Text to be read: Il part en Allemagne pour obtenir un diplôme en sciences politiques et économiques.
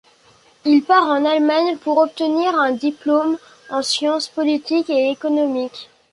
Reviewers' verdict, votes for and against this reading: accepted, 2, 0